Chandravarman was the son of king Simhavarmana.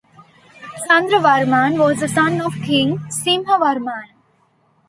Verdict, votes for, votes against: rejected, 1, 2